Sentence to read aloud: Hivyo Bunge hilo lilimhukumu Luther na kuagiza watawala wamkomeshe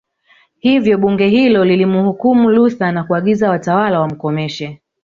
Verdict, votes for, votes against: rejected, 0, 2